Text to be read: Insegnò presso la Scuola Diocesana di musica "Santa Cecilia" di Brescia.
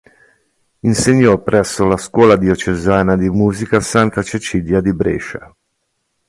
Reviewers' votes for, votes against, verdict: 3, 0, accepted